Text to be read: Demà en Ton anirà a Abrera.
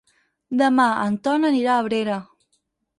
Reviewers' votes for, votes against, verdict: 6, 0, accepted